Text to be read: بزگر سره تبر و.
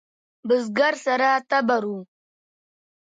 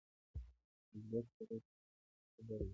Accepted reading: first